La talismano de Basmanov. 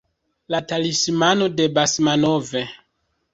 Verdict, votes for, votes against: rejected, 0, 2